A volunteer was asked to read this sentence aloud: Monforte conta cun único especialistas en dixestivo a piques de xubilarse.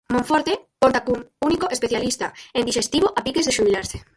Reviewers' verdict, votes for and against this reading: rejected, 0, 4